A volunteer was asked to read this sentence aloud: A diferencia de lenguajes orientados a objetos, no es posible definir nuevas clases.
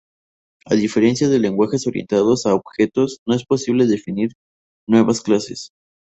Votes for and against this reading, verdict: 0, 2, rejected